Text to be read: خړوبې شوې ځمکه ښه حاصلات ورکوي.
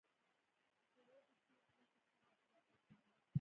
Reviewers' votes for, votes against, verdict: 1, 2, rejected